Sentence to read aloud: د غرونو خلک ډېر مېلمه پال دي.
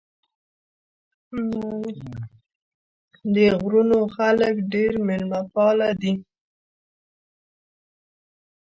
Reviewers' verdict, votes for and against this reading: rejected, 0, 2